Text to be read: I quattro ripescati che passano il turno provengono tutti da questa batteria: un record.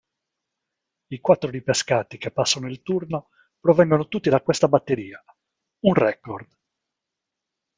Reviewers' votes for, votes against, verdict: 2, 1, accepted